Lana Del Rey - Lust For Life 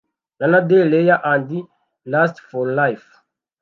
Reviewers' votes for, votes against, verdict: 1, 2, rejected